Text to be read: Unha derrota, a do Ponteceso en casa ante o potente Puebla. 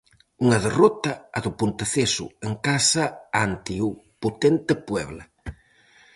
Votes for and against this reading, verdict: 4, 0, accepted